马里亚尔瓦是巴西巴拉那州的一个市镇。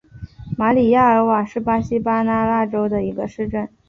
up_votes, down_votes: 2, 0